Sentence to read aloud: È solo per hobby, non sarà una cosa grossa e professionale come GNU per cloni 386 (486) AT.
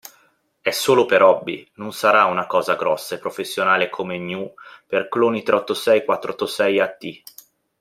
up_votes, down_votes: 0, 2